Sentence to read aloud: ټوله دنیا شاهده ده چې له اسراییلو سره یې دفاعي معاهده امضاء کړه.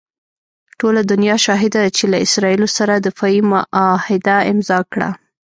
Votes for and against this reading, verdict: 1, 2, rejected